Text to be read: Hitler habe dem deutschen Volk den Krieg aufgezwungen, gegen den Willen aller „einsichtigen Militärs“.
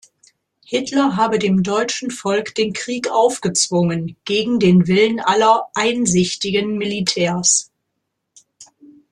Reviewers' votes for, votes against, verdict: 2, 0, accepted